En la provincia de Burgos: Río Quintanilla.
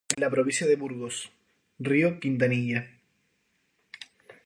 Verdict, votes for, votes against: accepted, 2, 0